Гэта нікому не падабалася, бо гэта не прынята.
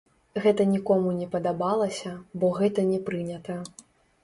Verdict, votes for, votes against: rejected, 1, 2